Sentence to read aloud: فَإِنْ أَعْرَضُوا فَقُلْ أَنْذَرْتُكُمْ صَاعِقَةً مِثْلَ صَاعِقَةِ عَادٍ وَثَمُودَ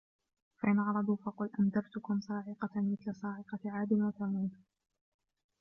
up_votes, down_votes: 0, 2